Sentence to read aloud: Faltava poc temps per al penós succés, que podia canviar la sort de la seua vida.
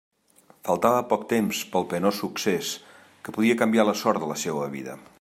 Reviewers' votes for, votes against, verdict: 0, 2, rejected